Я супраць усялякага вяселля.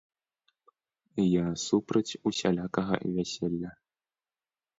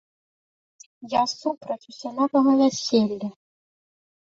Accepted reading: first